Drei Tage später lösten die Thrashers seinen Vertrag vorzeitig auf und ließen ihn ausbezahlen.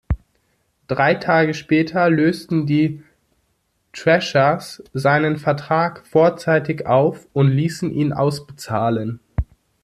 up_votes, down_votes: 2, 0